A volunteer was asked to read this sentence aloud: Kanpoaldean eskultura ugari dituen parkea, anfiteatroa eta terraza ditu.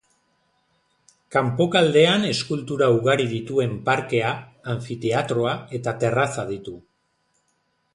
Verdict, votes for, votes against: rejected, 1, 2